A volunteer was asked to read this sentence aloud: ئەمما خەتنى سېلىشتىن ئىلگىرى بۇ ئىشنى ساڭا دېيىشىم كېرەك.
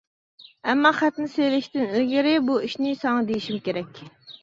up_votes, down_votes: 2, 0